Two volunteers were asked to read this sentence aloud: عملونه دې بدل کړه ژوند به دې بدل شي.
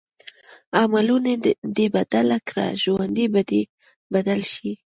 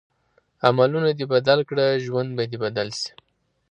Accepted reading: second